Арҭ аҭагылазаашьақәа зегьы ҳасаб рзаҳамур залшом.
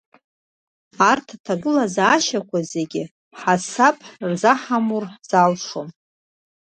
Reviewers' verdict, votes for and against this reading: rejected, 1, 2